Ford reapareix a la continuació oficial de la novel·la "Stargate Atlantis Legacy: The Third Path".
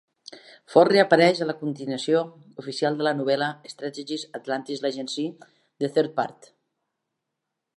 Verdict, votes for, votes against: accepted, 2, 1